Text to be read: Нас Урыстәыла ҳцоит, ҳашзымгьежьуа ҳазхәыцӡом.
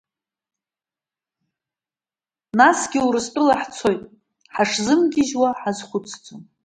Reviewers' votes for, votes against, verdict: 1, 2, rejected